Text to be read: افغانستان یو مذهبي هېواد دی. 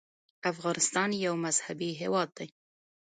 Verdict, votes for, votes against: accepted, 2, 1